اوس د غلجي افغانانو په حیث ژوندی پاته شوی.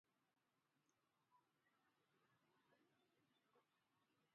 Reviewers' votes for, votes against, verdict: 1, 2, rejected